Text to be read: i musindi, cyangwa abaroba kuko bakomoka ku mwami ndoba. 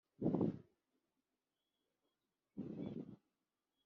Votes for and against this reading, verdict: 0, 2, rejected